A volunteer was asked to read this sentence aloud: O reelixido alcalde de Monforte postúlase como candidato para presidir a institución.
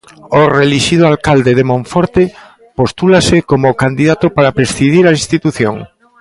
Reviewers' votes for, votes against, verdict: 1, 2, rejected